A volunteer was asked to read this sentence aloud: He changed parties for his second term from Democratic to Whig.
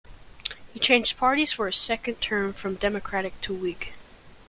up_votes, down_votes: 2, 0